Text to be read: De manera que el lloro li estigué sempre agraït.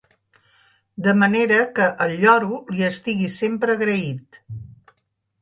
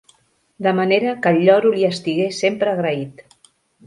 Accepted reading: second